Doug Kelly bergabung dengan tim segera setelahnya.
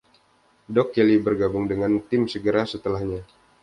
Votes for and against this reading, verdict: 2, 0, accepted